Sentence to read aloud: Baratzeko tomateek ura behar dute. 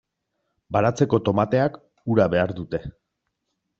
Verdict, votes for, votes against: rejected, 0, 2